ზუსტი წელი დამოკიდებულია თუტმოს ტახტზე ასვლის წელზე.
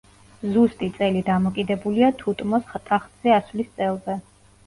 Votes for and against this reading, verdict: 2, 0, accepted